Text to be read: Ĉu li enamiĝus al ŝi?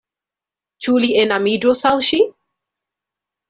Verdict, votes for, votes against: accepted, 2, 0